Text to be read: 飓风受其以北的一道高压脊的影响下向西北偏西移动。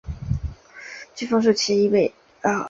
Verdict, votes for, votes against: rejected, 0, 2